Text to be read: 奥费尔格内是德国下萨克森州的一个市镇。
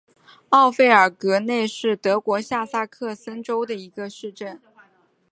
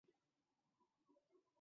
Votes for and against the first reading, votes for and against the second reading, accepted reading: 5, 0, 0, 3, first